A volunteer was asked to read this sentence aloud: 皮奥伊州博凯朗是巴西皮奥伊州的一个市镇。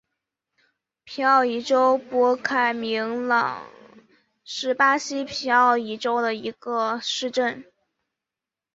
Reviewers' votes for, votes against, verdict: 0, 3, rejected